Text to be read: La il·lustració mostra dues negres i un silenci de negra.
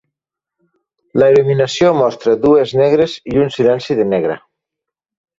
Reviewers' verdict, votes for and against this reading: rejected, 0, 3